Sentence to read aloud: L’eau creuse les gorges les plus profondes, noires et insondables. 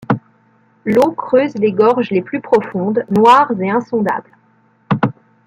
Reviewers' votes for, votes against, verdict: 1, 2, rejected